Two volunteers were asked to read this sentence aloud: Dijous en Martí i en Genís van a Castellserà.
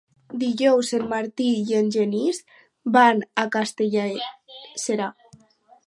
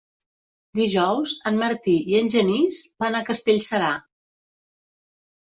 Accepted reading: second